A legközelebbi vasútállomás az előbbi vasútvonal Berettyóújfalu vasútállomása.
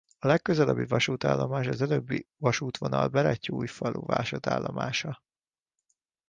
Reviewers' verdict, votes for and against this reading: rejected, 1, 2